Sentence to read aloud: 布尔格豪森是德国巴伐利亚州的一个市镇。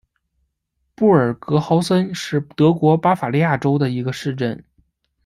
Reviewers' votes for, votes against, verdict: 1, 2, rejected